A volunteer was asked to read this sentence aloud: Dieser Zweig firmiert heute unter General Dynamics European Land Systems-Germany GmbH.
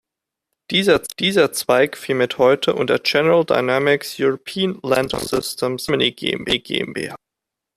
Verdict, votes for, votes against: rejected, 0, 2